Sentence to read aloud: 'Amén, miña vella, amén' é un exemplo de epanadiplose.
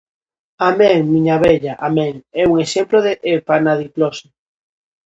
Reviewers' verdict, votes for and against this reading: accepted, 2, 0